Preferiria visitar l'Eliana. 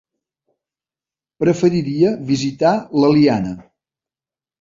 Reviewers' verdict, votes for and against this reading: accepted, 2, 0